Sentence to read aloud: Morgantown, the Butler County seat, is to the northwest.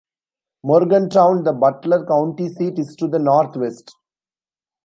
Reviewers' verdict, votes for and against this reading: accepted, 2, 0